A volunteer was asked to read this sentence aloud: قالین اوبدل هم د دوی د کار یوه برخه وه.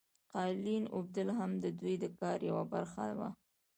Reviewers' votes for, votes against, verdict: 2, 1, accepted